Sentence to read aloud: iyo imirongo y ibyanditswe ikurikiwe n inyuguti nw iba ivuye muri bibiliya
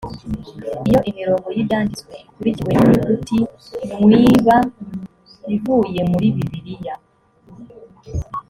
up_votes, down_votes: 2, 1